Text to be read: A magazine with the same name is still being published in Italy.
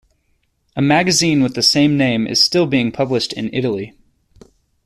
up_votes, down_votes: 2, 0